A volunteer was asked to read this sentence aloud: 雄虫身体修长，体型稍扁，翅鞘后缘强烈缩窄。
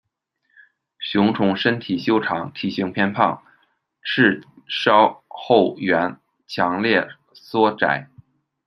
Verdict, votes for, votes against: rejected, 0, 2